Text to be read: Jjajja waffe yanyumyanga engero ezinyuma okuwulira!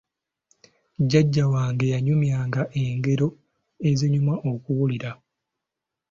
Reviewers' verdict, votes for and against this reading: rejected, 0, 2